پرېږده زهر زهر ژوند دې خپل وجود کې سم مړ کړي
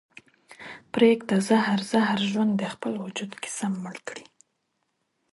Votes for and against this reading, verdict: 2, 0, accepted